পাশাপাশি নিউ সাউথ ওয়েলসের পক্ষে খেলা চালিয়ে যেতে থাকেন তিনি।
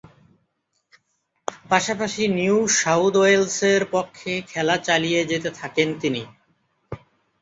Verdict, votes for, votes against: rejected, 0, 2